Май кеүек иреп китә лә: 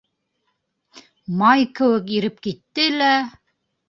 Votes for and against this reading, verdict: 0, 2, rejected